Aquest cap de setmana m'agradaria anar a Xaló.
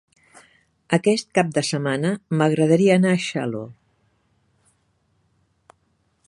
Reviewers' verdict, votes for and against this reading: rejected, 0, 2